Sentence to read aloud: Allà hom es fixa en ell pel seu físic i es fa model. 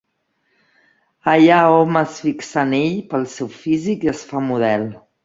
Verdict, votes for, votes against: accepted, 2, 0